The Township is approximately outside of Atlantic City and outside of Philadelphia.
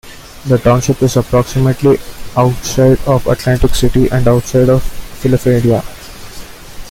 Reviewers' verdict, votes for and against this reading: rejected, 0, 2